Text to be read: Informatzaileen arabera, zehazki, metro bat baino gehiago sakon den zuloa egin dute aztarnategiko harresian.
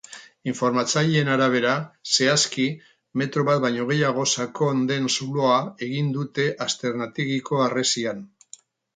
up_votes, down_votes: 2, 0